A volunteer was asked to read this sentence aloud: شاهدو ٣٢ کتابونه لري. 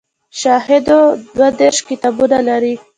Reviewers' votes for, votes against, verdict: 0, 2, rejected